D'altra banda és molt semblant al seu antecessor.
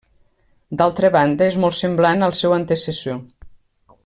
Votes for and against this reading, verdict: 2, 0, accepted